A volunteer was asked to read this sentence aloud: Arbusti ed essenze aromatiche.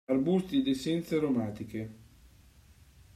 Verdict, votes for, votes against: accepted, 2, 1